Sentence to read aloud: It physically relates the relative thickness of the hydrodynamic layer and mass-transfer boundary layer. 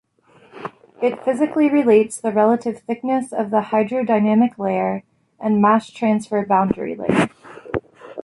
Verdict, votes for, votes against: accepted, 2, 0